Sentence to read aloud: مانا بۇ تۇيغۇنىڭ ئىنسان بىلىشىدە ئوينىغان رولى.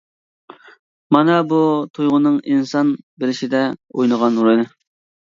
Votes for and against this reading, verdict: 2, 1, accepted